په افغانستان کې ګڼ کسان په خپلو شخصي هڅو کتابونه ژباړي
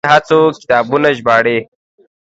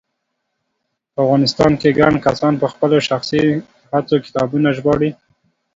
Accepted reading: second